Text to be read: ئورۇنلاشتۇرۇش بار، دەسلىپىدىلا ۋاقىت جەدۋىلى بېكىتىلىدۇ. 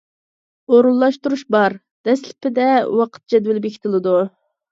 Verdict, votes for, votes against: rejected, 0, 2